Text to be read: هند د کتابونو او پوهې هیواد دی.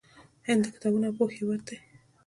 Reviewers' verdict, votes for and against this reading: accepted, 2, 0